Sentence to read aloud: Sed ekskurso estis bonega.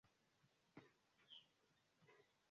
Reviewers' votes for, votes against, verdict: 0, 2, rejected